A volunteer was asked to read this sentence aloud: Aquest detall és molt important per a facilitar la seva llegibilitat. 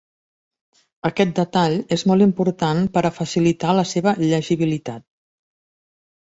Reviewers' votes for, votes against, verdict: 3, 0, accepted